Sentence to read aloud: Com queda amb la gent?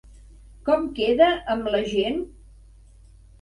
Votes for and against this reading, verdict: 3, 0, accepted